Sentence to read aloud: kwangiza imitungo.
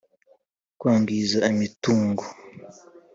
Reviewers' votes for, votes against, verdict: 3, 0, accepted